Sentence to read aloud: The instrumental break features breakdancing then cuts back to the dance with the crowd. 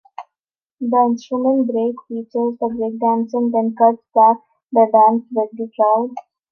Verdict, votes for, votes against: accepted, 2, 1